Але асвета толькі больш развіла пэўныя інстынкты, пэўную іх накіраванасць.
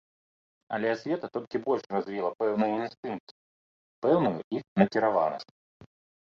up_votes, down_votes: 1, 2